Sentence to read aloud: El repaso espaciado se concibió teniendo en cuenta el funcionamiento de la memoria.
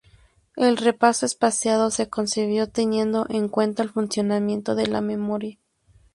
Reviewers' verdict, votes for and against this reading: accepted, 2, 0